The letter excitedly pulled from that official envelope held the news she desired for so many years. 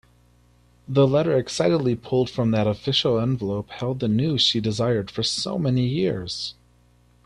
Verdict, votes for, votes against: accepted, 2, 0